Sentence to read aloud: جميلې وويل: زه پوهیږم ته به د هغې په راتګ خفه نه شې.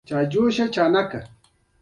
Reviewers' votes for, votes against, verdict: 1, 2, rejected